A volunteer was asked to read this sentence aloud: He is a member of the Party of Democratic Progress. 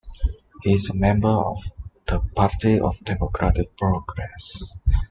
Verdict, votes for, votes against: accepted, 2, 0